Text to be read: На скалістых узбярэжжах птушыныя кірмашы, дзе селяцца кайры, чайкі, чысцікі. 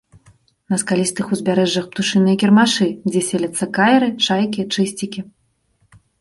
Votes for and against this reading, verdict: 2, 0, accepted